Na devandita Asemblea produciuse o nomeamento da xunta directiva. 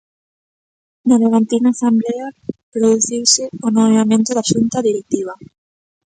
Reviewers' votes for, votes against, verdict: 0, 2, rejected